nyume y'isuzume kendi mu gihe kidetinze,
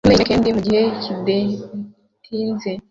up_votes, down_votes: 0, 2